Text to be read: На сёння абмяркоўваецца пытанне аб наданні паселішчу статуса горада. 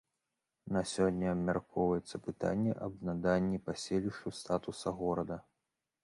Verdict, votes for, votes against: accepted, 2, 0